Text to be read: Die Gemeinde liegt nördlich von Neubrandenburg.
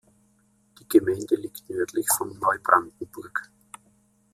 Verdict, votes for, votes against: accepted, 2, 0